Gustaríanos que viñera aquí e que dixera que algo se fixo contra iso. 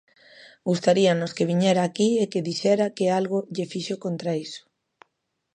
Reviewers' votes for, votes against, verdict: 0, 2, rejected